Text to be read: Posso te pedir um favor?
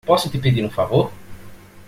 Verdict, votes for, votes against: accepted, 2, 0